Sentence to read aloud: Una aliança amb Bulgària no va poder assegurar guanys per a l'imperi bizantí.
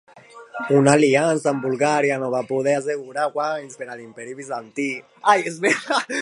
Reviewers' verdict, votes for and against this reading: rejected, 0, 2